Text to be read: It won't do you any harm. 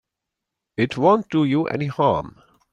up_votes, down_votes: 2, 0